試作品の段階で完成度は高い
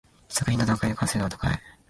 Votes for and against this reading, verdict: 0, 2, rejected